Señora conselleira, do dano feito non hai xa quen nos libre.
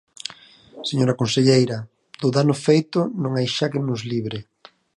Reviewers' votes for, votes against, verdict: 4, 0, accepted